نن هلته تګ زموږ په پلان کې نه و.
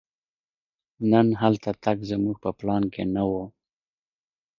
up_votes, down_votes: 1, 2